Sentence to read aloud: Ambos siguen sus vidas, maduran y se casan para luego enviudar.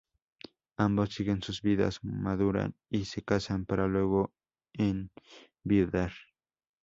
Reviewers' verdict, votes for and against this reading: accepted, 2, 0